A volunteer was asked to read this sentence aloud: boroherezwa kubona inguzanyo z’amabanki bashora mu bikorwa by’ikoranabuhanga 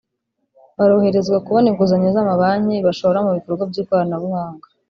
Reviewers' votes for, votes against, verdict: 0, 2, rejected